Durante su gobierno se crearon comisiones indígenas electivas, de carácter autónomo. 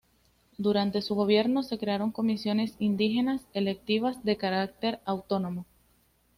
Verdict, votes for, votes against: accepted, 2, 0